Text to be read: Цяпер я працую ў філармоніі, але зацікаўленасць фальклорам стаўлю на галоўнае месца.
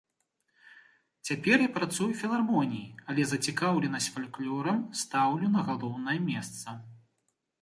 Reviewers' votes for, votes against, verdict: 2, 0, accepted